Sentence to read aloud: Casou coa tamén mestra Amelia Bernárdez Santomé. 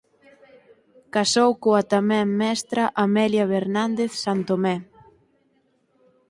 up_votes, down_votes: 0, 4